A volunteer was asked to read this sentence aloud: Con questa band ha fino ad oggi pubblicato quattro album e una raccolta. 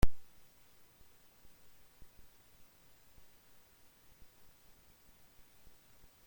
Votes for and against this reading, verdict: 0, 4, rejected